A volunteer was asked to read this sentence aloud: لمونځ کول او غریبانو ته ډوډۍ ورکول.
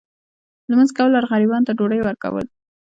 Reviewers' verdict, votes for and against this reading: accepted, 2, 0